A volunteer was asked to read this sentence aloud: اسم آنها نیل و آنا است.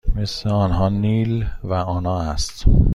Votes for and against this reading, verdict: 2, 0, accepted